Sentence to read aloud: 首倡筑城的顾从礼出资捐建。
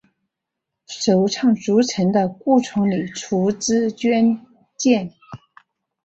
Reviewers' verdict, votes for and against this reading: accepted, 2, 1